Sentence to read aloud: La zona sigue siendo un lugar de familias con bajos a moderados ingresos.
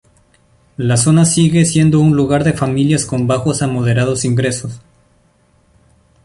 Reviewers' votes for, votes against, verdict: 2, 0, accepted